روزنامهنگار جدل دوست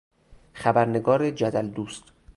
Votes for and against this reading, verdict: 0, 2, rejected